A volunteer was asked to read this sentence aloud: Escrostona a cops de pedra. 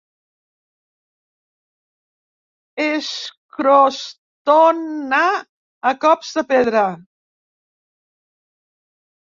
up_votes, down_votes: 1, 2